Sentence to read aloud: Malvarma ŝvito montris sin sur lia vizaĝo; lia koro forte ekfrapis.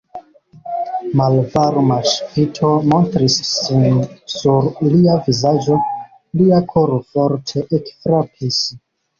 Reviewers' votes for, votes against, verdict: 2, 1, accepted